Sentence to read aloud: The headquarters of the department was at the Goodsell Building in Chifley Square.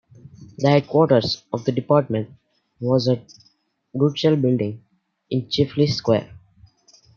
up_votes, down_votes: 0, 2